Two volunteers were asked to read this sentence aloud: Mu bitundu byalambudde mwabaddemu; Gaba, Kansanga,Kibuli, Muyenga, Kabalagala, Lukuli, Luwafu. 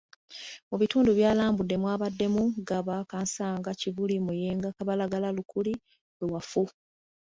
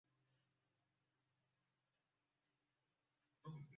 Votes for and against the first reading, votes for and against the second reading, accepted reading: 2, 1, 0, 2, first